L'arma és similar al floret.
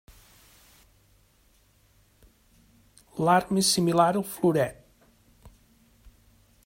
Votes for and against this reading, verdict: 1, 2, rejected